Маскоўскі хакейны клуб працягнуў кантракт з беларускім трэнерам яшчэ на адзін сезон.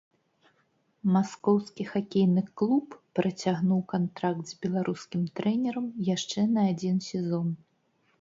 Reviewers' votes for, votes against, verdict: 2, 0, accepted